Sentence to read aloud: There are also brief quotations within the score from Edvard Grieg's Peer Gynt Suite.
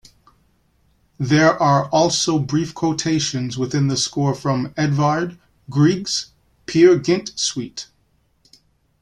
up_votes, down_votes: 2, 0